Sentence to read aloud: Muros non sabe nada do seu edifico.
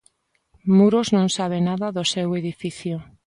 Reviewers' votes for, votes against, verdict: 3, 0, accepted